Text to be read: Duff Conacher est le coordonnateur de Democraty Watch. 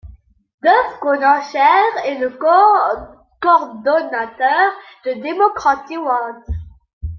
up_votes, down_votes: 0, 2